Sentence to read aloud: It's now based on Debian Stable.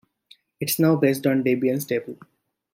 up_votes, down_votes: 2, 0